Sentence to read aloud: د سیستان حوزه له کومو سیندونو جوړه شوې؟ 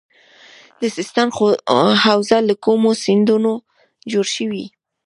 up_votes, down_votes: 1, 2